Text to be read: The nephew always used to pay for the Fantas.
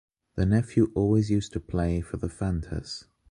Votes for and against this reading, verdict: 1, 2, rejected